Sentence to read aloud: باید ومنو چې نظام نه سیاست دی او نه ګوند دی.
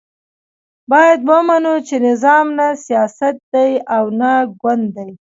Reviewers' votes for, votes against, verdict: 2, 1, accepted